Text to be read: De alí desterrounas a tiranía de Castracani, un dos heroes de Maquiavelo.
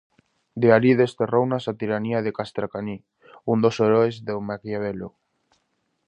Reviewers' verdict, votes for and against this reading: rejected, 0, 2